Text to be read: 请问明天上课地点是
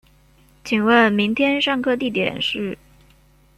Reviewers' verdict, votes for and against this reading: accepted, 2, 0